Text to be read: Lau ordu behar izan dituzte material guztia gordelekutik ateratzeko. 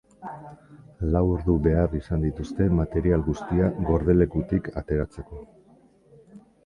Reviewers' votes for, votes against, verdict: 2, 0, accepted